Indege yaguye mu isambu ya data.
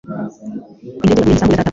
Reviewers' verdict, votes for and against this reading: rejected, 1, 2